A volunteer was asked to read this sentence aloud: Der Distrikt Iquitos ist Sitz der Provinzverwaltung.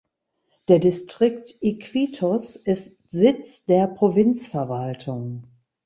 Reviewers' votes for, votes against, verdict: 2, 0, accepted